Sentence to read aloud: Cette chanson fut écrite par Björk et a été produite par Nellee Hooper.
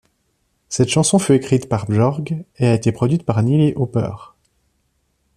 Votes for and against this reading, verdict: 1, 2, rejected